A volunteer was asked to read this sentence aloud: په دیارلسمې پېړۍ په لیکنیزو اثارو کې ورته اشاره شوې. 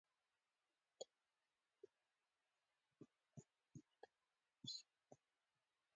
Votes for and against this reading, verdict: 0, 2, rejected